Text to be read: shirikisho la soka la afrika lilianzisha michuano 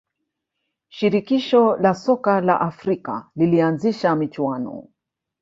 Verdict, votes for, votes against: rejected, 0, 2